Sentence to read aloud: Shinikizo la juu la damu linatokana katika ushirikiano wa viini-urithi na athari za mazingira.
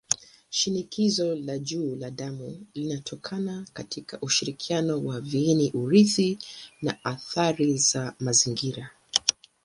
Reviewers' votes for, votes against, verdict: 2, 0, accepted